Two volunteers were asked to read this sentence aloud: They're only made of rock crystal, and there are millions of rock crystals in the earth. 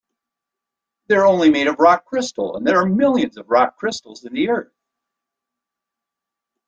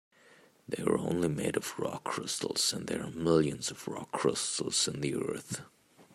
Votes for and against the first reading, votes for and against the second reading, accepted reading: 2, 0, 1, 3, first